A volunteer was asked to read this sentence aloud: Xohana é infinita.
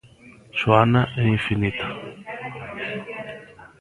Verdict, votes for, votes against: rejected, 0, 2